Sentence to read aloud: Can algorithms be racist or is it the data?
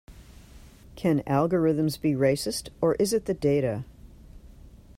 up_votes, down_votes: 2, 0